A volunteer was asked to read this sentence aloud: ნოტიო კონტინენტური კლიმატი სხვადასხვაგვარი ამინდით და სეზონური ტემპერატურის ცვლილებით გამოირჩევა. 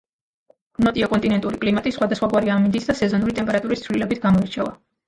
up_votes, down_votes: 2, 1